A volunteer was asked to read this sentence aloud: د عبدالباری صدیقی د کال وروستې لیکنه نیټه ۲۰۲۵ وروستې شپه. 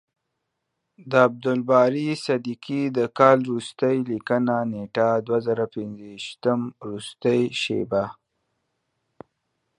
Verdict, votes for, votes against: rejected, 0, 2